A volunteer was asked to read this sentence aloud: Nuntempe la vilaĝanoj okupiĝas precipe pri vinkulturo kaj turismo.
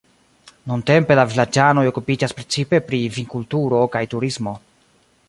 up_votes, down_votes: 2, 0